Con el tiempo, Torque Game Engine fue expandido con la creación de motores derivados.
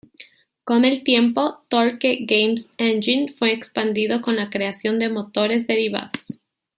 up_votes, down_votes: 1, 2